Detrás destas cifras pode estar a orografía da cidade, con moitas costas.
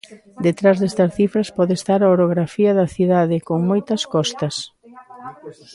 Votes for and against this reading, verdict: 2, 3, rejected